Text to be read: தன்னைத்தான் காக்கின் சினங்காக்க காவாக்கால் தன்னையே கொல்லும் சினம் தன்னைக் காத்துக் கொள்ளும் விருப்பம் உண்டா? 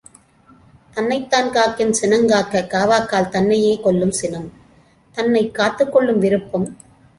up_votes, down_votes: 0, 2